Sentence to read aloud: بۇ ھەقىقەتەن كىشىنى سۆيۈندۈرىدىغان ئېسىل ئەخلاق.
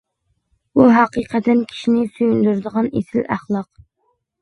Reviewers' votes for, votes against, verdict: 2, 0, accepted